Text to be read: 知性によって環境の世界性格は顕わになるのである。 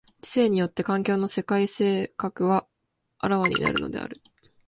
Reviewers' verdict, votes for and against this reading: accepted, 7, 1